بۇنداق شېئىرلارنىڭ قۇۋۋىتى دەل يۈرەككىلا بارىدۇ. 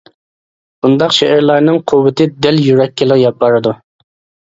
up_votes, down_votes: 0, 2